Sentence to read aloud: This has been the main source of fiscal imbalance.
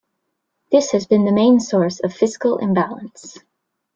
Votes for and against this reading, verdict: 2, 1, accepted